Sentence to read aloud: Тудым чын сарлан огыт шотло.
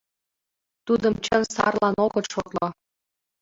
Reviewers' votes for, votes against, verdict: 1, 2, rejected